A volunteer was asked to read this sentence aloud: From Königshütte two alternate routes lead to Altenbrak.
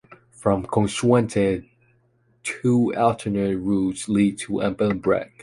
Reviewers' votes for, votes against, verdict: 1, 2, rejected